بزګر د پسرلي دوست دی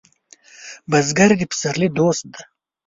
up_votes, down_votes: 1, 2